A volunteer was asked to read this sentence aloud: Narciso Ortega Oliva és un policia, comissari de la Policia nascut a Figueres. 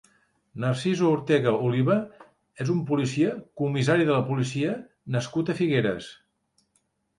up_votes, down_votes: 2, 1